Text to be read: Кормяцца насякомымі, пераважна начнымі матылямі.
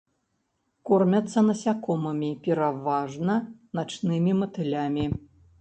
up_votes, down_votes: 2, 0